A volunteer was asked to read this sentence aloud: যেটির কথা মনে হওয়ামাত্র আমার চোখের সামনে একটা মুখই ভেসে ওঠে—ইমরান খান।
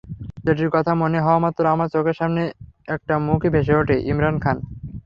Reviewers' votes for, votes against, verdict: 3, 0, accepted